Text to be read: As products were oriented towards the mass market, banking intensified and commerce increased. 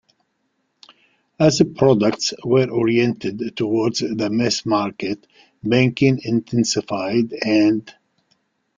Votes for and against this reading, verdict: 0, 2, rejected